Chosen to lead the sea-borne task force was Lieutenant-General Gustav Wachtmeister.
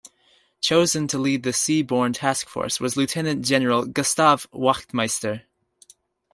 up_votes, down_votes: 2, 1